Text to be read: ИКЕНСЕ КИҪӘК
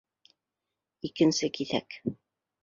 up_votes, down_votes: 2, 0